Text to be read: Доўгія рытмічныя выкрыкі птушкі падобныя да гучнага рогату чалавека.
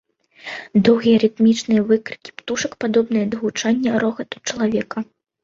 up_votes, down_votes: 1, 2